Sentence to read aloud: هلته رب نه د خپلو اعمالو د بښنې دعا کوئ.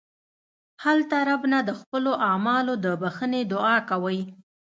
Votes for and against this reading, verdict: 2, 0, accepted